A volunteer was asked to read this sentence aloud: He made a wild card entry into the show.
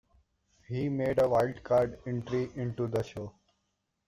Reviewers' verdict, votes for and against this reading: accepted, 2, 0